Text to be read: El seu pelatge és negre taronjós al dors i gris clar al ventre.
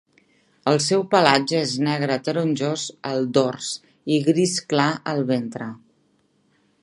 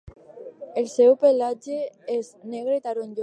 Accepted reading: first